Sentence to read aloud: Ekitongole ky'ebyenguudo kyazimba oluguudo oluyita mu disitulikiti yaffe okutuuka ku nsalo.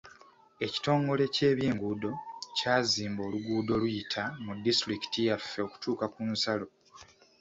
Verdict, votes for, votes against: accepted, 2, 0